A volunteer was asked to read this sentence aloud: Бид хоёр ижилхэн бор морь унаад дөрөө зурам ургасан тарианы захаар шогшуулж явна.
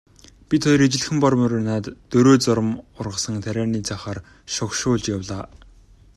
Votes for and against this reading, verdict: 0, 2, rejected